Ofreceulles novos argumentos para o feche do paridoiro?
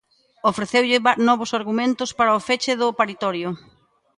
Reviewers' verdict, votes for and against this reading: rejected, 0, 2